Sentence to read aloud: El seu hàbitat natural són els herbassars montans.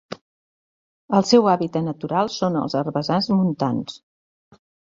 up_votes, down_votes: 2, 0